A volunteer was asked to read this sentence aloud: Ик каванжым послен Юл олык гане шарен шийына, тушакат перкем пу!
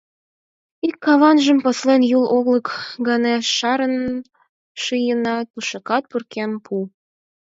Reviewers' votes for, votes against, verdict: 2, 4, rejected